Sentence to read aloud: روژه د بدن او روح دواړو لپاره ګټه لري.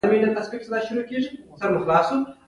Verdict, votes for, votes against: rejected, 2, 3